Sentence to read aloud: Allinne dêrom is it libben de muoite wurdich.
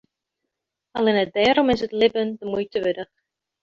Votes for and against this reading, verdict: 2, 1, accepted